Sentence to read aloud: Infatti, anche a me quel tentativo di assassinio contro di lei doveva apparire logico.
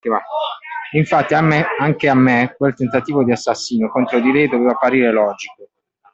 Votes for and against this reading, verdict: 0, 2, rejected